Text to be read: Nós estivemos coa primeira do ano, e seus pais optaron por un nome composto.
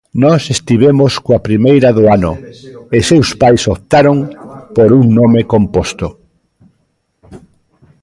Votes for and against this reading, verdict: 2, 1, accepted